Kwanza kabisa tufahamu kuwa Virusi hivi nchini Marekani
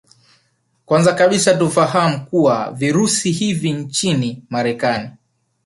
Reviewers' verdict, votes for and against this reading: accepted, 4, 0